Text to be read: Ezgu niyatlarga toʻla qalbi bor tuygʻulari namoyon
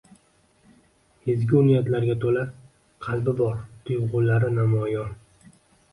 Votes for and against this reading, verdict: 2, 1, accepted